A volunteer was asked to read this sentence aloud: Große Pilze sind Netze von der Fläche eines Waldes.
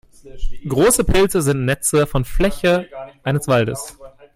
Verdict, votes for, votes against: rejected, 0, 2